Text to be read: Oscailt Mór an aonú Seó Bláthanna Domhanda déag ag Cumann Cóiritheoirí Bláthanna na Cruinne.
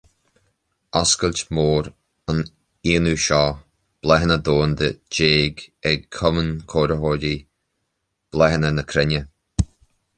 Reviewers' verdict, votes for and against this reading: accepted, 2, 1